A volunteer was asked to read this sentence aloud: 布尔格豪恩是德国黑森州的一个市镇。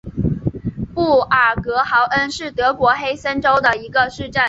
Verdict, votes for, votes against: accepted, 2, 0